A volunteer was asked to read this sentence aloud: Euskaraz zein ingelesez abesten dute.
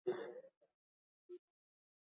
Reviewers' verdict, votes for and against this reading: rejected, 0, 6